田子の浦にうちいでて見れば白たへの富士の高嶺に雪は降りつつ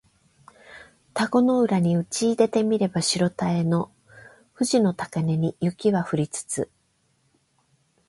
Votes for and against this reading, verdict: 8, 0, accepted